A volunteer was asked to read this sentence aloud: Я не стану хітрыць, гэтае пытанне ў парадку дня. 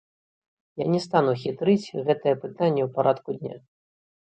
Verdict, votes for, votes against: accepted, 2, 0